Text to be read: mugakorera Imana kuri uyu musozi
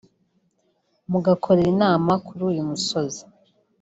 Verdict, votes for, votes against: rejected, 1, 2